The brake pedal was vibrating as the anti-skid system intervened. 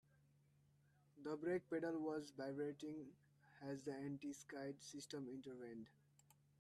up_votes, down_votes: 1, 2